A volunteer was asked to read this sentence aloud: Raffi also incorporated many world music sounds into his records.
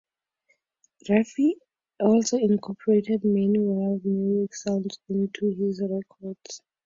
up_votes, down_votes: 2, 2